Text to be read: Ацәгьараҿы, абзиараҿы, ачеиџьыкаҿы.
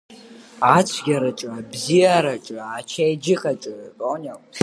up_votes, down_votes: 1, 2